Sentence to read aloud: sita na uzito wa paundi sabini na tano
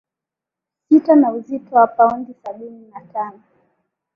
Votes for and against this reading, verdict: 2, 0, accepted